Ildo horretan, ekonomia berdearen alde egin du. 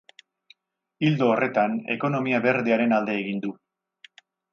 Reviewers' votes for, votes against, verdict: 2, 0, accepted